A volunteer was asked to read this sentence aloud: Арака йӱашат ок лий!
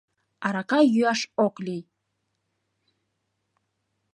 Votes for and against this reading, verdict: 0, 2, rejected